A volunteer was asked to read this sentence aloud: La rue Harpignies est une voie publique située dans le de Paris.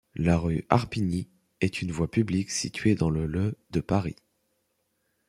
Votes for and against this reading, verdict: 2, 1, accepted